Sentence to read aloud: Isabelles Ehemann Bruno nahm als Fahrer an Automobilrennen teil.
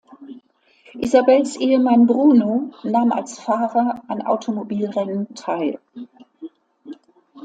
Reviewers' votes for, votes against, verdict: 0, 2, rejected